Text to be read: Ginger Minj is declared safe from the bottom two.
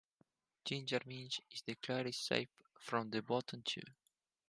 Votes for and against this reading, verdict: 4, 0, accepted